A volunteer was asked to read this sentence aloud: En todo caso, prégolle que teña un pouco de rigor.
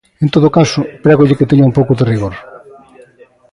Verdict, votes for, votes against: rejected, 0, 2